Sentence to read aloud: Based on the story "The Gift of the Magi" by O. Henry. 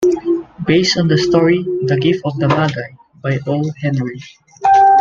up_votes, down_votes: 2, 1